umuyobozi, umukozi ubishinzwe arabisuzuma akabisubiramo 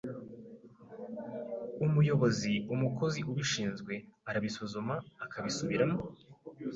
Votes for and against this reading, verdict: 2, 0, accepted